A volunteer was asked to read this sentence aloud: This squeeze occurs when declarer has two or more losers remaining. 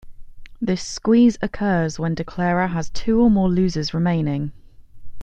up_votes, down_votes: 2, 0